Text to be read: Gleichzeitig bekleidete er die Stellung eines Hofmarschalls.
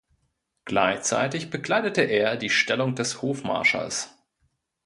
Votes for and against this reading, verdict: 0, 2, rejected